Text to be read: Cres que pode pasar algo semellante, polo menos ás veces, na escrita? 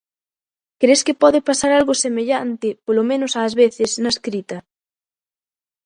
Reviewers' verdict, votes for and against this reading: accepted, 2, 0